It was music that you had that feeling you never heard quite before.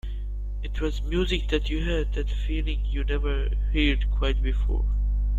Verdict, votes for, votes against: accepted, 2, 0